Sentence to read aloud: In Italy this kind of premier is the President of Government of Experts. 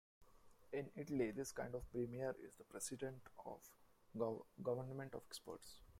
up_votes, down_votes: 0, 2